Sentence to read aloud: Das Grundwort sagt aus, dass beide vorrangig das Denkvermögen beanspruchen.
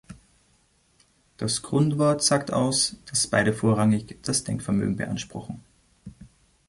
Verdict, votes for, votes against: accepted, 2, 0